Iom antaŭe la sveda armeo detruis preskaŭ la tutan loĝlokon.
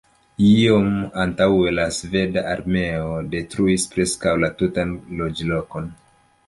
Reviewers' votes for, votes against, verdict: 2, 0, accepted